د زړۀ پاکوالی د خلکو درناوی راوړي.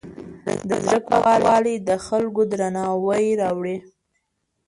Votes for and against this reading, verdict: 0, 2, rejected